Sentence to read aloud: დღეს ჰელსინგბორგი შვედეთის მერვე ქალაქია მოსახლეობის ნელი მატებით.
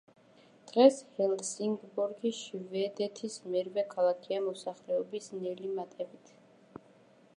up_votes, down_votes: 0, 2